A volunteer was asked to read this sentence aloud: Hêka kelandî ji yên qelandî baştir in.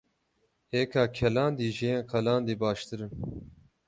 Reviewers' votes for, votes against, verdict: 6, 0, accepted